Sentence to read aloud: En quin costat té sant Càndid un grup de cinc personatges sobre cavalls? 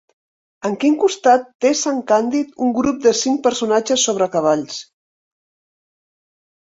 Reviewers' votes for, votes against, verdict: 2, 0, accepted